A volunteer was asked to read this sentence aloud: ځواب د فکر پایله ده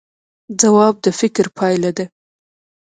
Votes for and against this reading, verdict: 1, 2, rejected